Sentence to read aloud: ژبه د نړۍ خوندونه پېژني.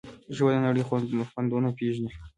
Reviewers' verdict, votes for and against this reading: rejected, 1, 2